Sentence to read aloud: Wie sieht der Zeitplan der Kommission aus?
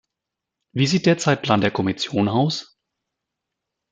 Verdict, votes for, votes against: rejected, 1, 2